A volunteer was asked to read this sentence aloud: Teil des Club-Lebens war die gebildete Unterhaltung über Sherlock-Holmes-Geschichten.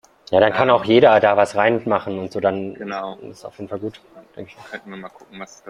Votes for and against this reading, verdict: 0, 2, rejected